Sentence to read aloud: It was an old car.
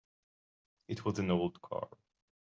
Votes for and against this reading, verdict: 2, 0, accepted